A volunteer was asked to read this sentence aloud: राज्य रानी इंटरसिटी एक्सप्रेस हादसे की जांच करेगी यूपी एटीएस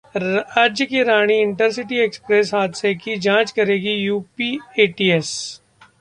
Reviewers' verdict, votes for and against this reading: rejected, 1, 2